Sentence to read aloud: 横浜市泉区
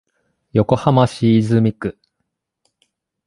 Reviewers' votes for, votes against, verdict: 2, 0, accepted